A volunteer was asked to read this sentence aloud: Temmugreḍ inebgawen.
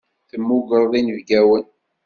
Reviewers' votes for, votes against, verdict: 2, 0, accepted